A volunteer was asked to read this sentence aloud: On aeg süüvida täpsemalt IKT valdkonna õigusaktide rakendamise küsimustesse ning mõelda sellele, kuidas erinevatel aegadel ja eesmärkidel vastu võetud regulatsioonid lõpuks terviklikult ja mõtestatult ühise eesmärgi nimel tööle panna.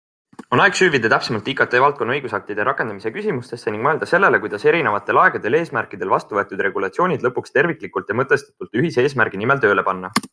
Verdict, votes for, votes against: accepted, 2, 0